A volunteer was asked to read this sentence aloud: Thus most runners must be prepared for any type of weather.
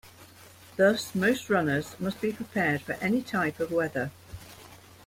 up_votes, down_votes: 2, 0